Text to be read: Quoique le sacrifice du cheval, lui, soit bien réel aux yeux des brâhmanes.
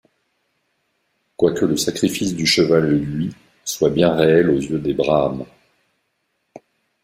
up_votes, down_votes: 1, 2